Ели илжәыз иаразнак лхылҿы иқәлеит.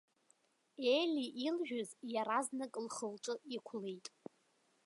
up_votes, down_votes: 2, 1